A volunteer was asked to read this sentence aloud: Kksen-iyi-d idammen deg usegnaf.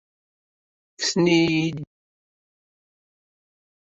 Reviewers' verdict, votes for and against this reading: rejected, 0, 2